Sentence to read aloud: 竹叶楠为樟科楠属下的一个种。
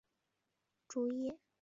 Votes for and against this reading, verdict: 0, 2, rejected